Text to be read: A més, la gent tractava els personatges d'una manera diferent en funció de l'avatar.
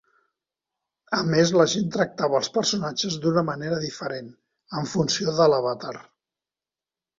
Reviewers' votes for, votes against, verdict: 4, 0, accepted